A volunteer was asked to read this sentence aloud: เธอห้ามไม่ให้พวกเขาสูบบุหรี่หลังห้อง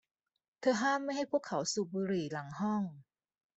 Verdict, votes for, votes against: accepted, 2, 0